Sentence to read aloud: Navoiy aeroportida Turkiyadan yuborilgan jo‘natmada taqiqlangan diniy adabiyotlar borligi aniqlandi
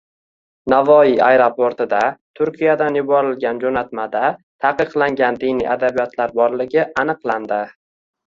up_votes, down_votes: 2, 1